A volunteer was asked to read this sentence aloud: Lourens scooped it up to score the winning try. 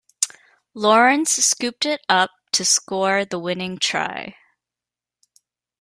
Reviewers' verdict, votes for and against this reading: accepted, 2, 0